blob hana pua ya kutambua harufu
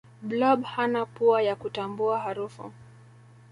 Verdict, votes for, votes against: accepted, 3, 1